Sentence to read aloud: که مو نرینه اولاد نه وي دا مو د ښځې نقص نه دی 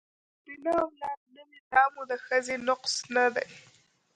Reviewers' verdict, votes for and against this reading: rejected, 1, 2